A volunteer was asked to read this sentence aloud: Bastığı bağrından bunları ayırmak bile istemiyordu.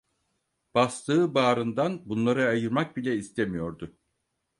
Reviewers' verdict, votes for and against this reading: accepted, 4, 0